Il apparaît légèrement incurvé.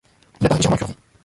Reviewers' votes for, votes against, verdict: 0, 2, rejected